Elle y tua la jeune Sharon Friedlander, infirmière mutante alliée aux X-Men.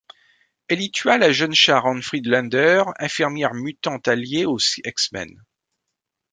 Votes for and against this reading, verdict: 1, 2, rejected